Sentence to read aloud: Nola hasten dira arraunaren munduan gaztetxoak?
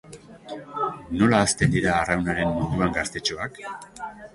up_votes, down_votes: 2, 0